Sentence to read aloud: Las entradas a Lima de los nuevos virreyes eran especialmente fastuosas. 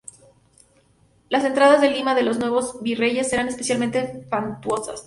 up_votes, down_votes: 0, 2